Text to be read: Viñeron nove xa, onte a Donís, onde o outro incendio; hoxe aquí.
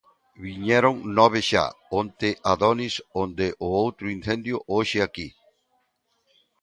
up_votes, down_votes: 2, 3